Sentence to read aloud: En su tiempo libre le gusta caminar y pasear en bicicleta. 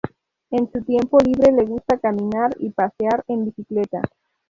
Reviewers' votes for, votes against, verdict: 0, 2, rejected